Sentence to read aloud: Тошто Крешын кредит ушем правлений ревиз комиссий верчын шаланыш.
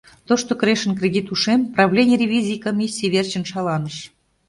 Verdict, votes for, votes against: rejected, 0, 2